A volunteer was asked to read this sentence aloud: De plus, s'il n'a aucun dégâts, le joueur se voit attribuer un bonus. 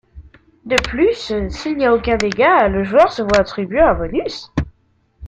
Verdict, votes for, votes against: rejected, 0, 2